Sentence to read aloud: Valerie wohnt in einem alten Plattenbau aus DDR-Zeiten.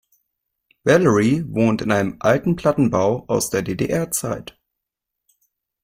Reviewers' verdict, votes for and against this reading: rejected, 0, 2